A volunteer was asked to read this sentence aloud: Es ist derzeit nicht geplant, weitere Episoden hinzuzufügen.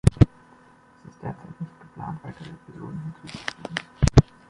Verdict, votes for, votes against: rejected, 0, 2